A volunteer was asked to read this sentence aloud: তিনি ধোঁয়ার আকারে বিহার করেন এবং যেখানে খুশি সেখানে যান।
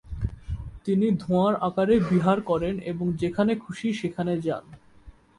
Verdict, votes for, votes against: accepted, 2, 0